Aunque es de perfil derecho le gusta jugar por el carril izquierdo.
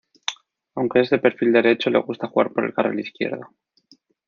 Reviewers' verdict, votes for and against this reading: rejected, 1, 2